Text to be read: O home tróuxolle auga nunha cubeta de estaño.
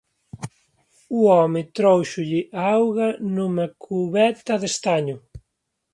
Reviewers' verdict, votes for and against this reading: accepted, 2, 1